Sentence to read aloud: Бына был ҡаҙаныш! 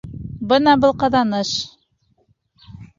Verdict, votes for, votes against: accepted, 2, 0